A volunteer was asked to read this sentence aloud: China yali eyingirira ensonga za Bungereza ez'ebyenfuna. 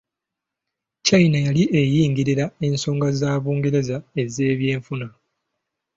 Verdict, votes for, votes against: accepted, 2, 0